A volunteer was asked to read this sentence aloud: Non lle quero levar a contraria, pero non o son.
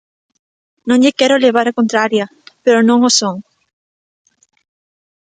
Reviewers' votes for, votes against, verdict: 2, 0, accepted